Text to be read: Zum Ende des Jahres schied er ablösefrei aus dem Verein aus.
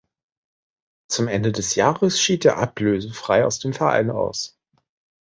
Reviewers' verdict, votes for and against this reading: accepted, 2, 0